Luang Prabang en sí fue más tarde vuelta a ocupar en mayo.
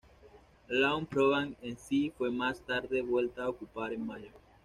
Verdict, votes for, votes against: accepted, 2, 0